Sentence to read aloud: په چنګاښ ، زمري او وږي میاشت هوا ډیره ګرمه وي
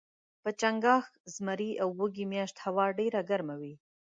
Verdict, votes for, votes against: accepted, 2, 1